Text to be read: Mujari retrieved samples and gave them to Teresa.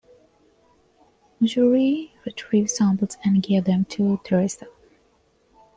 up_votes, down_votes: 2, 0